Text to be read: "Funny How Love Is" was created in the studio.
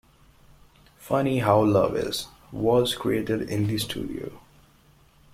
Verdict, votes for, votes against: accepted, 2, 0